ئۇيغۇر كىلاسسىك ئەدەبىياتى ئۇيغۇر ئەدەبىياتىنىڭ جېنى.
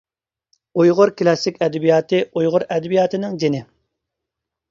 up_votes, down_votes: 2, 0